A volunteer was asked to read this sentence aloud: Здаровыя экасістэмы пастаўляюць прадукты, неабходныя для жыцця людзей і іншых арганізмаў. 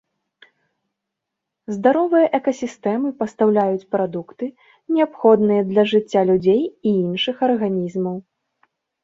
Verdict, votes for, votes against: rejected, 1, 2